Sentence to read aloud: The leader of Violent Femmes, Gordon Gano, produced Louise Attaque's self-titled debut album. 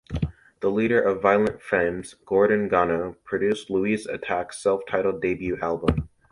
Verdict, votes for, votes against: accepted, 2, 0